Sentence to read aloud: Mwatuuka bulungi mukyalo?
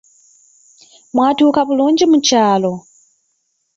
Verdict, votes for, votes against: rejected, 1, 2